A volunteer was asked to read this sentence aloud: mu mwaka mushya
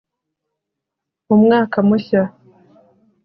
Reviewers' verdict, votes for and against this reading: accepted, 2, 0